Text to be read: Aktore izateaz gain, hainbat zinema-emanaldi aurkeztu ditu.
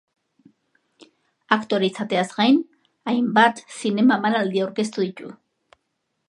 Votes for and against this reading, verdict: 2, 0, accepted